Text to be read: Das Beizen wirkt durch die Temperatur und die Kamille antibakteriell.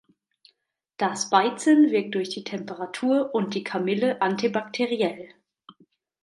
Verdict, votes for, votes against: accepted, 2, 0